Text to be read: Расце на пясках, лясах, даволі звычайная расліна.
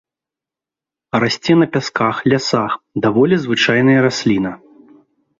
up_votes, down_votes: 2, 0